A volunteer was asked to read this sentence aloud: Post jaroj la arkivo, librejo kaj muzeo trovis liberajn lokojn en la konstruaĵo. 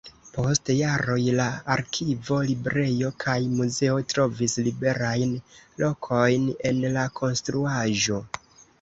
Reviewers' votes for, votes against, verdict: 1, 2, rejected